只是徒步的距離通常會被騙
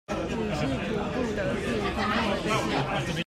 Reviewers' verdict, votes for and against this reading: rejected, 1, 2